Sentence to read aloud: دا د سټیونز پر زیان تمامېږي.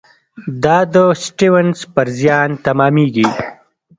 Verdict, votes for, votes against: rejected, 1, 2